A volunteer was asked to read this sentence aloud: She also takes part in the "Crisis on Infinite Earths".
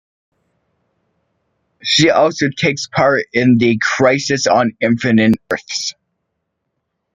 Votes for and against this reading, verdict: 1, 2, rejected